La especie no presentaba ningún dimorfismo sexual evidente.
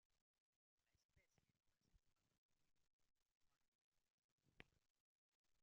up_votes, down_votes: 0, 2